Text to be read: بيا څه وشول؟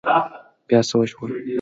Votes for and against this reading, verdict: 2, 0, accepted